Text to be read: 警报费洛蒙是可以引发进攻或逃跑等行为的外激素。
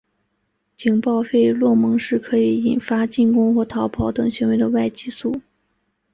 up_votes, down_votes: 2, 0